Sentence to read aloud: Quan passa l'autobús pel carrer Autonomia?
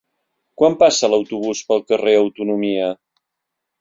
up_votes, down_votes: 3, 0